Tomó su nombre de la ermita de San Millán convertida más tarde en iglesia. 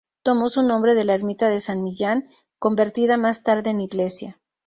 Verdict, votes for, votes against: accepted, 6, 0